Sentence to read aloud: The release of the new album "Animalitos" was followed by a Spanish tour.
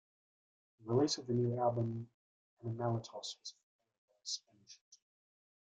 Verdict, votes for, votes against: rejected, 0, 2